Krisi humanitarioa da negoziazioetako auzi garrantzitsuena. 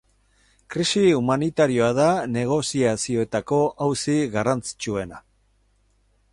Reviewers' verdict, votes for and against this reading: accepted, 4, 0